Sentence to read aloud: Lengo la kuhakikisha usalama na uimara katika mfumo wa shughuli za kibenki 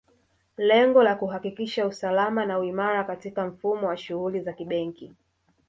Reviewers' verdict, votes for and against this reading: rejected, 1, 2